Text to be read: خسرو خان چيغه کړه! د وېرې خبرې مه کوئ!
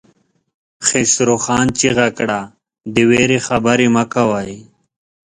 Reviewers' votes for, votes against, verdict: 2, 0, accepted